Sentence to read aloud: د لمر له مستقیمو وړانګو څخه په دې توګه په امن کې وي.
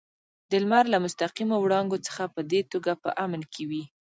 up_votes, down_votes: 0, 2